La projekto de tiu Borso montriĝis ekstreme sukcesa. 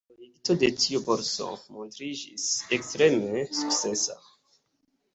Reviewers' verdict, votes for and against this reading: rejected, 3, 4